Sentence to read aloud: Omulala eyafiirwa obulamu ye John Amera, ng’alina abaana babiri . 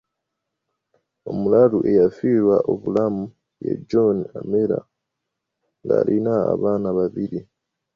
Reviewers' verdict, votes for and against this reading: rejected, 1, 2